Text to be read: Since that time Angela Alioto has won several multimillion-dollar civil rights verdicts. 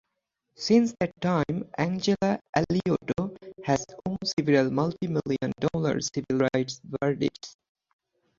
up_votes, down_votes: 4, 0